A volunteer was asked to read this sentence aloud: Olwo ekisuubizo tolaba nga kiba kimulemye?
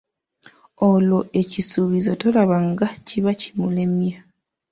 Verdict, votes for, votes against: accepted, 2, 0